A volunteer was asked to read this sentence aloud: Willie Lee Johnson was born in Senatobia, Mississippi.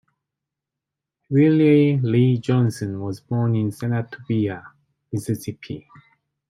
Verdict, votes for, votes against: accepted, 2, 0